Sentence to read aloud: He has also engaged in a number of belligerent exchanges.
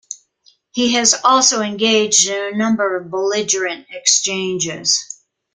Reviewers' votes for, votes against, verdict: 2, 0, accepted